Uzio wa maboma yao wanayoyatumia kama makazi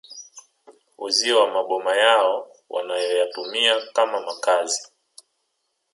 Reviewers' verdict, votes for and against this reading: accepted, 2, 0